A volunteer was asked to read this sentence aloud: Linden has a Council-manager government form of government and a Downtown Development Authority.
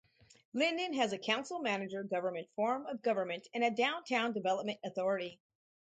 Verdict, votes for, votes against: rejected, 2, 2